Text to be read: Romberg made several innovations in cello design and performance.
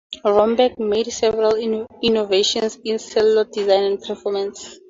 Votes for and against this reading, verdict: 0, 4, rejected